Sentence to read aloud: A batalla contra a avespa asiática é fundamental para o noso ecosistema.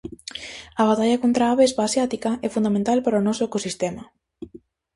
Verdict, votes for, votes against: accepted, 2, 0